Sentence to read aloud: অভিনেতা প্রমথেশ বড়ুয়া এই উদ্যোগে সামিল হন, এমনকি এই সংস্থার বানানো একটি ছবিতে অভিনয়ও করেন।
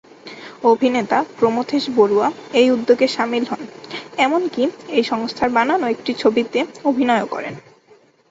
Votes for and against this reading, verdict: 2, 0, accepted